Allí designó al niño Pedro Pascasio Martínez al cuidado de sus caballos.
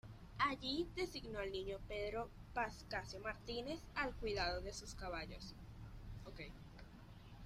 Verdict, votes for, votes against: rejected, 1, 2